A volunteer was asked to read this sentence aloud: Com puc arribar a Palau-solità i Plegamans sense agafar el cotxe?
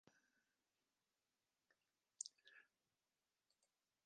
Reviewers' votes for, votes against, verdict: 0, 2, rejected